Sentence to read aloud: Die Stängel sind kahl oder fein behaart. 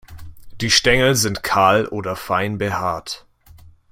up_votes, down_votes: 2, 0